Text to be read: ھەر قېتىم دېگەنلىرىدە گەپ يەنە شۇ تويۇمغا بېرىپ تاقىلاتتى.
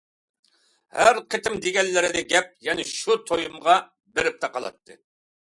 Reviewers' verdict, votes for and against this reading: accepted, 2, 0